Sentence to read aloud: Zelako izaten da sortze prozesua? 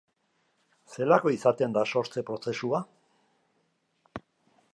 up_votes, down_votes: 2, 0